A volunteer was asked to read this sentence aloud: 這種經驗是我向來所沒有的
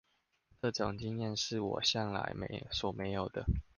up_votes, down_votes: 1, 2